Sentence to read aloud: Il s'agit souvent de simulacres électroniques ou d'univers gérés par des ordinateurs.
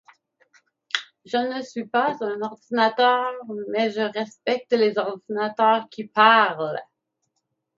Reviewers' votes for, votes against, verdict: 0, 2, rejected